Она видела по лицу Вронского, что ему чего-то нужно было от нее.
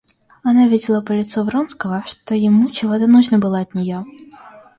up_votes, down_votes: 1, 2